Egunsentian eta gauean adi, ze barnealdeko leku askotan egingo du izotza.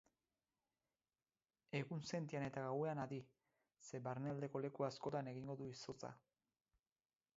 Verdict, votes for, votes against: accepted, 4, 0